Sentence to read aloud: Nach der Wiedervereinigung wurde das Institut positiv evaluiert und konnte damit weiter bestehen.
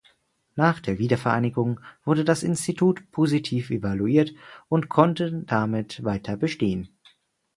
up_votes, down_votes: 2, 4